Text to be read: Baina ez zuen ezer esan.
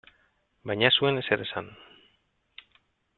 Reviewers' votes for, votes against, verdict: 2, 0, accepted